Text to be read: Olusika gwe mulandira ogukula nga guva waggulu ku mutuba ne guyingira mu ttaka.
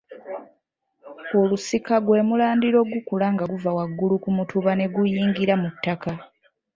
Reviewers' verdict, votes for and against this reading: accepted, 2, 0